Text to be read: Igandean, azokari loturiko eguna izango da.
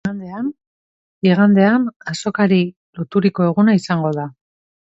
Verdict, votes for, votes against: rejected, 0, 2